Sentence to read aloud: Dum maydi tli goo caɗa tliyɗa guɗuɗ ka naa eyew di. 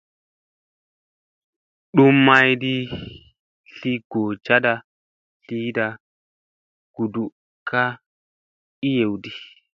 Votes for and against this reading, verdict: 2, 0, accepted